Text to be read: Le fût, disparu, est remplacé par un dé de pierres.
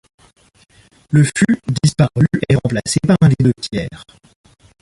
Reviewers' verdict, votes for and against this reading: rejected, 1, 2